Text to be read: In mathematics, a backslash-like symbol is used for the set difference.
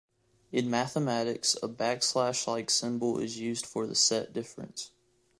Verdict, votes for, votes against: accepted, 2, 1